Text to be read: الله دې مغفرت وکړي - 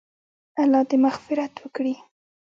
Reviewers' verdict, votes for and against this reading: rejected, 2, 3